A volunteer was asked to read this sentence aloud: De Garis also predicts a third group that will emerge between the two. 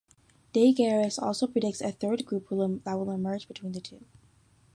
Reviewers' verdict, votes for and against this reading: rejected, 0, 2